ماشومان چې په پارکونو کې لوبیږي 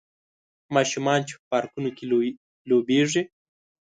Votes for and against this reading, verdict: 1, 2, rejected